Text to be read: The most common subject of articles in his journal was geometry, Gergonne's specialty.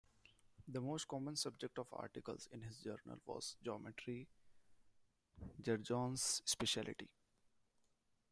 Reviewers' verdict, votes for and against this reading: accepted, 2, 1